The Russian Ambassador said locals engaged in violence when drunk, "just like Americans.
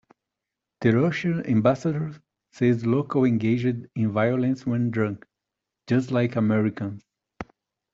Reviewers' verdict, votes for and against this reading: rejected, 1, 2